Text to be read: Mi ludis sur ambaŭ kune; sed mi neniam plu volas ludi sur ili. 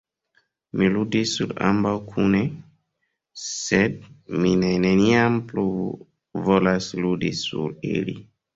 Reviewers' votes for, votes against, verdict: 1, 2, rejected